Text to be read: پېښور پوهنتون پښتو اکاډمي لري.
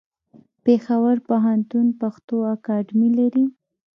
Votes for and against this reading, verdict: 0, 2, rejected